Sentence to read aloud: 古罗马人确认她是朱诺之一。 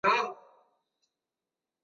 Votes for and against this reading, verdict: 0, 3, rejected